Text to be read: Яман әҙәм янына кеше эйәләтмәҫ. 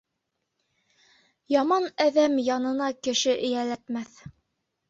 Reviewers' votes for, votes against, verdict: 3, 0, accepted